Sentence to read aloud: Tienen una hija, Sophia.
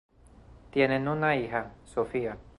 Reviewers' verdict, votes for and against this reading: accepted, 2, 0